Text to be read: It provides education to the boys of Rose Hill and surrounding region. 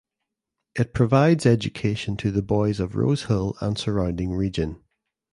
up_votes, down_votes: 2, 0